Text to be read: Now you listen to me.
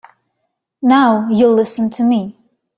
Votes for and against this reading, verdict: 4, 0, accepted